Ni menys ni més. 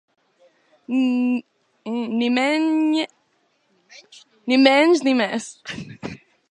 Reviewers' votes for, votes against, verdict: 1, 3, rejected